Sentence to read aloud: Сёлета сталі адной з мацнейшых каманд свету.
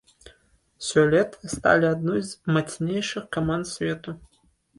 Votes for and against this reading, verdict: 1, 2, rejected